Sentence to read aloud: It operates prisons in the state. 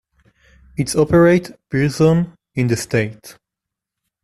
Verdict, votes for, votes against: rejected, 0, 2